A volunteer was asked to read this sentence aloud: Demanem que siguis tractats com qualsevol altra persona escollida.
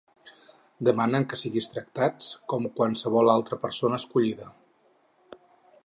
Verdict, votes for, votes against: rejected, 4, 6